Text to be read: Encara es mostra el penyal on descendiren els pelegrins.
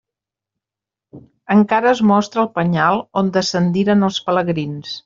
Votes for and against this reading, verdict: 2, 0, accepted